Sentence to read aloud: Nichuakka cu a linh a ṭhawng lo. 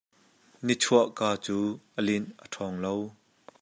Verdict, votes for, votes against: accepted, 2, 0